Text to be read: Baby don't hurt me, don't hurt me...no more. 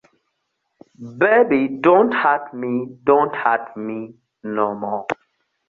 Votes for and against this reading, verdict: 2, 0, accepted